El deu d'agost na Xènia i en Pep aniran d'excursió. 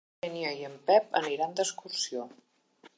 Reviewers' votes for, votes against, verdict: 1, 3, rejected